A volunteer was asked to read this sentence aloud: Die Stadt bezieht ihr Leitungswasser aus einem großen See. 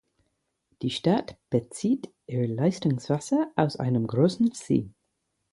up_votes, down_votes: 0, 4